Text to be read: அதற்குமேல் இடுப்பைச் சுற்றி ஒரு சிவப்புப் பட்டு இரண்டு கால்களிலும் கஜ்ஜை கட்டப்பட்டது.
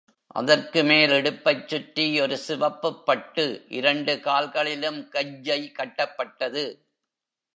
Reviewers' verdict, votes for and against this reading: accepted, 2, 0